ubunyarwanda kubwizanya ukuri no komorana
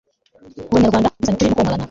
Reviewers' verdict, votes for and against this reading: rejected, 0, 2